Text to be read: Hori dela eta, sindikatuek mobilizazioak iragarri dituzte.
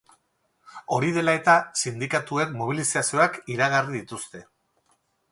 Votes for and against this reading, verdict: 2, 2, rejected